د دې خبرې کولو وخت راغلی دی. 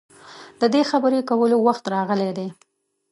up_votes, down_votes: 2, 1